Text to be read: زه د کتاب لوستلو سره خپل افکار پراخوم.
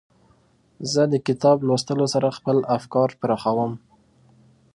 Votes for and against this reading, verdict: 2, 0, accepted